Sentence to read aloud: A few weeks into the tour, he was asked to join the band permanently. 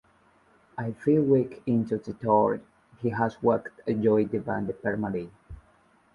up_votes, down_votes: 1, 2